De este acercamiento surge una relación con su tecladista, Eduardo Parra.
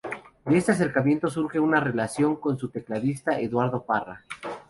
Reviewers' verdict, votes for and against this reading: accepted, 4, 0